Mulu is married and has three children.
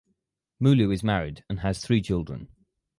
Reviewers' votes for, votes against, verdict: 4, 2, accepted